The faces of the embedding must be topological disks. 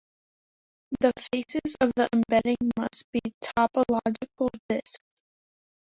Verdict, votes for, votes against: accepted, 2, 1